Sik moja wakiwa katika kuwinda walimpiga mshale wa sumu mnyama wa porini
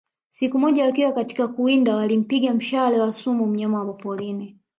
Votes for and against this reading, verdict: 0, 2, rejected